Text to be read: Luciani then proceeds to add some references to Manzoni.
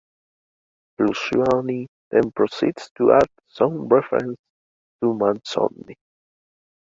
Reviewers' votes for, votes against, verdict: 3, 1, accepted